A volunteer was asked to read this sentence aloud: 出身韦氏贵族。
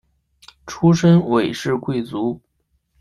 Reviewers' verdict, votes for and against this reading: accepted, 2, 1